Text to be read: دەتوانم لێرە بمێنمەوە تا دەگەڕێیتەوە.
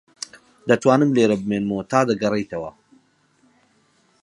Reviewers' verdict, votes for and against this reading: accepted, 6, 0